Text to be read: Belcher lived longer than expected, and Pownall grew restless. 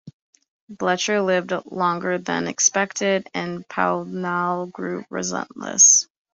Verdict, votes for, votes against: rejected, 0, 2